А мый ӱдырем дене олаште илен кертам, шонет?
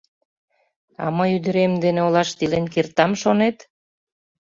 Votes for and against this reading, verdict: 2, 0, accepted